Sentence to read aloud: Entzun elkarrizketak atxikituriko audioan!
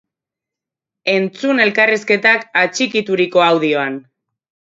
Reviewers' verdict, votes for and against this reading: accepted, 2, 0